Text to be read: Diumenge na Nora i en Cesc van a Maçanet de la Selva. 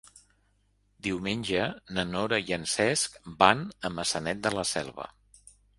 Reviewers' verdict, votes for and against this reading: accepted, 3, 0